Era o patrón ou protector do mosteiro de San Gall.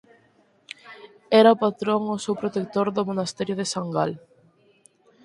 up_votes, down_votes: 0, 4